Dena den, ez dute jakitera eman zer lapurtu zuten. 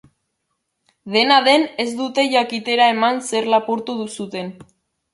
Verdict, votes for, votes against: rejected, 1, 3